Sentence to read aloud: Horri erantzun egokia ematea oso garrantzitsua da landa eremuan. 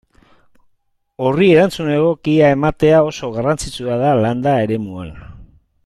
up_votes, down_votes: 2, 0